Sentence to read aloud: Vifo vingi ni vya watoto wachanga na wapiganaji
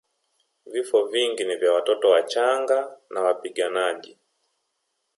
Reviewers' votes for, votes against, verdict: 0, 2, rejected